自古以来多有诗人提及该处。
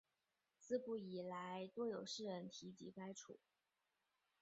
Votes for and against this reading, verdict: 0, 4, rejected